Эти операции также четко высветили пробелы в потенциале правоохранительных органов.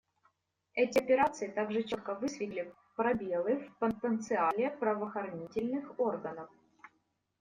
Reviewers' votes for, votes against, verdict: 2, 1, accepted